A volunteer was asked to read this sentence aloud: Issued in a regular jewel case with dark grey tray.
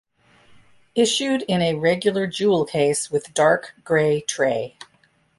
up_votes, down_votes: 2, 0